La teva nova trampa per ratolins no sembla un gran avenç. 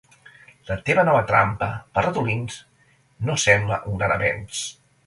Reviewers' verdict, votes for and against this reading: accepted, 2, 0